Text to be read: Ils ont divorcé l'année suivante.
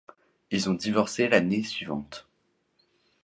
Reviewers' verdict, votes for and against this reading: accepted, 2, 0